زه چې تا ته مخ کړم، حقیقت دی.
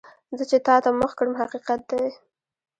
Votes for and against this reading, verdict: 1, 2, rejected